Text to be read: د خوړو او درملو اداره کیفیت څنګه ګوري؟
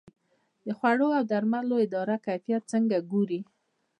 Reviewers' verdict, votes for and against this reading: rejected, 0, 2